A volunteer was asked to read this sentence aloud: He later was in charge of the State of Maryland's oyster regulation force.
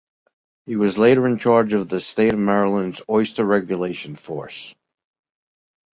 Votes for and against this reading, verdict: 0, 2, rejected